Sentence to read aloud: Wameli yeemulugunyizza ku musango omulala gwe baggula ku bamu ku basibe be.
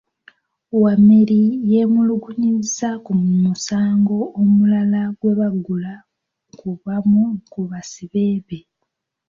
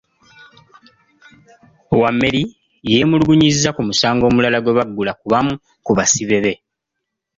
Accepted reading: second